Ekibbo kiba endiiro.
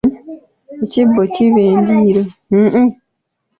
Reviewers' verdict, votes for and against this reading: rejected, 0, 2